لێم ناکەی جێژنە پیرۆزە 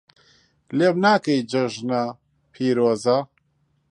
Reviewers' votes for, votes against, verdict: 1, 2, rejected